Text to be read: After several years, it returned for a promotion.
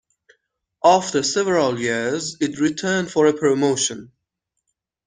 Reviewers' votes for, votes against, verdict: 2, 0, accepted